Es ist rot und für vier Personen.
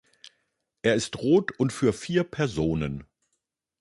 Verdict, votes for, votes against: rejected, 0, 2